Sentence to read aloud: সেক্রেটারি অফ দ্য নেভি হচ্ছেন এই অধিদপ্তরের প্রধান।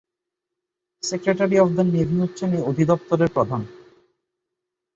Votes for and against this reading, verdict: 2, 0, accepted